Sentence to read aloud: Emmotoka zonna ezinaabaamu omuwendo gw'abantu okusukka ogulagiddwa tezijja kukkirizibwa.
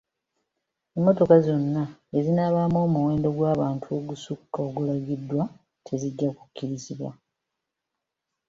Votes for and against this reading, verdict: 0, 2, rejected